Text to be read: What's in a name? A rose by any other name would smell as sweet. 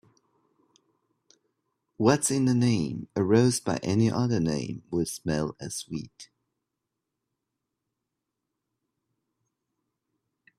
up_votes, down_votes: 2, 0